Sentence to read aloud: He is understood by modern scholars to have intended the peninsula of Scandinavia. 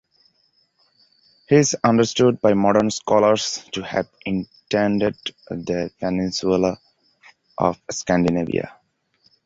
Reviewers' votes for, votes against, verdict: 1, 2, rejected